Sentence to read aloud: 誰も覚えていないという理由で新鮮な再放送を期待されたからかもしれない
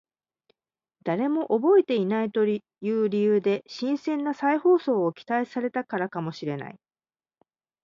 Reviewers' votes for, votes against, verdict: 0, 2, rejected